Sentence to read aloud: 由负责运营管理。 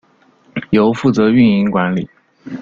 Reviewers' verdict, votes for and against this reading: accepted, 2, 0